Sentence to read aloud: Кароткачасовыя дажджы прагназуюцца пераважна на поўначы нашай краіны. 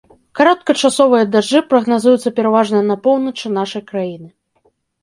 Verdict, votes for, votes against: accepted, 2, 0